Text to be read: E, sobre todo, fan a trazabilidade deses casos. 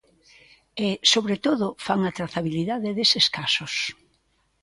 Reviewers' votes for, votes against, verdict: 3, 0, accepted